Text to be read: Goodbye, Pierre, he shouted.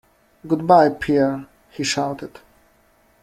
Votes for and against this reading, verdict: 2, 0, accepted